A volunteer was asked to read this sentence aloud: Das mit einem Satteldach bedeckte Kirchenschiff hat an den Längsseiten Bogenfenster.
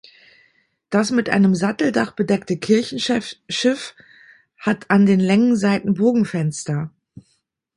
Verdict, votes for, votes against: rejected, 0, 2